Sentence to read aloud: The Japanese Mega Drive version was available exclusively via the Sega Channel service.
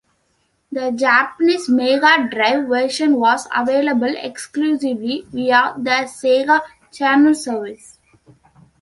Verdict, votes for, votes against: accepted, 2, 0